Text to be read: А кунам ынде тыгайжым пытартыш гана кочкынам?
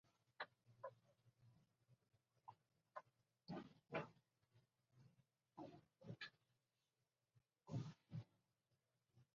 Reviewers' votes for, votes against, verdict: 0, 2, rejected